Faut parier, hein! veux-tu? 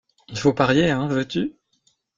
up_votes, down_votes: 0, 2